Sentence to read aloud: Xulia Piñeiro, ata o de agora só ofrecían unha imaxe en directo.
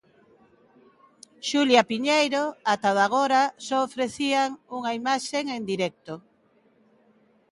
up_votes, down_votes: 0, 2